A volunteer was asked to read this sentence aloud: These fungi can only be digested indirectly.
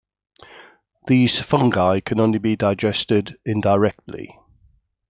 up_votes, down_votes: 2, 0